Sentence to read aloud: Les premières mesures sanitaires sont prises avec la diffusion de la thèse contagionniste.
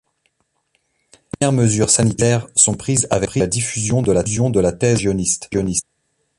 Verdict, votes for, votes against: rejected, 0, 2